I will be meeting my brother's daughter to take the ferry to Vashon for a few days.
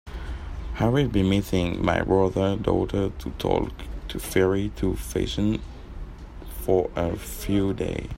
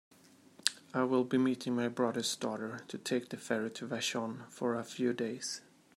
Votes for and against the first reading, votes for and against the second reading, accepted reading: 0, 2, 2, 0, second